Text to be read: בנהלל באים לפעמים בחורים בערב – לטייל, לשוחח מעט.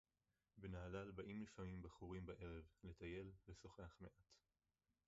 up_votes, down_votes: 0, 4